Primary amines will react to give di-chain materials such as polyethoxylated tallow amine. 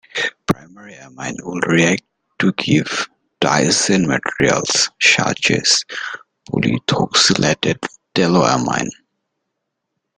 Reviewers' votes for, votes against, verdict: 0, 2, rejected